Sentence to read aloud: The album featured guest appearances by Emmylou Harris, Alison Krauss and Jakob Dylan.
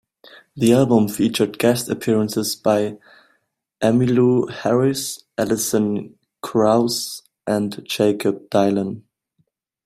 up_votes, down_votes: 1, 2